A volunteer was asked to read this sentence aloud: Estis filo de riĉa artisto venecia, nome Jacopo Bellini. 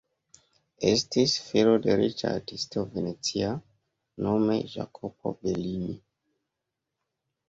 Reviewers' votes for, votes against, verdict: 2, 0, accepted